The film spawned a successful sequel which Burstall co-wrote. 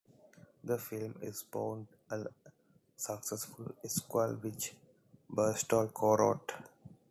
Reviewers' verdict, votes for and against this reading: rejected, 1, 2